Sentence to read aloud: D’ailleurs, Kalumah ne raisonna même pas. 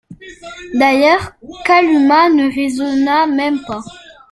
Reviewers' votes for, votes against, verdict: 1, 2, rejected